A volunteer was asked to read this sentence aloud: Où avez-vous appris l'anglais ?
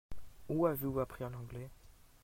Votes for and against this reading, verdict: 0, 2, rejected